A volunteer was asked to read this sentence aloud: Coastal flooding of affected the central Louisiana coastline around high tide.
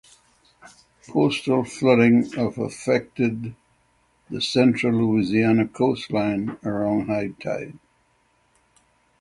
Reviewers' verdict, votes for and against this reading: rejected, 3, 3